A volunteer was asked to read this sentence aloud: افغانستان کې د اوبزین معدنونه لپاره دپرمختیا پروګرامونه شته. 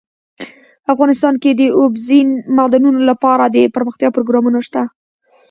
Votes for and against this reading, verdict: 0, 2, rejected